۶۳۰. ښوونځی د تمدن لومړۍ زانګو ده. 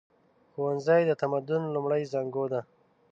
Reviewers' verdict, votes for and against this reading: rejected, 0, 2